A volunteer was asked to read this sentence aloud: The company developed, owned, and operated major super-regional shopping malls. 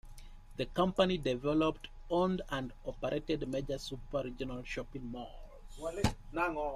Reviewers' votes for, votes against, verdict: 0, 2, rejected